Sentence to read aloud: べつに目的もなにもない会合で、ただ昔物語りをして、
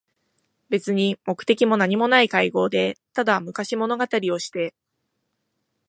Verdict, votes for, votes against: accepted, 4, 0